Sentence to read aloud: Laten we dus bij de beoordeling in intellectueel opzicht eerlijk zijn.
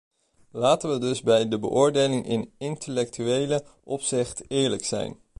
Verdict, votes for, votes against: rejected, 0, 2